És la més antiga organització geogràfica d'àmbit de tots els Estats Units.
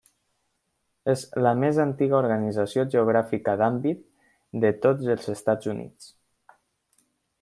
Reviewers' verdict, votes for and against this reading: accepted, 3, 0